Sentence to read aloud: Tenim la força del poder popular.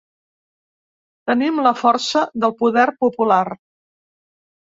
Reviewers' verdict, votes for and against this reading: accepted, 3, 0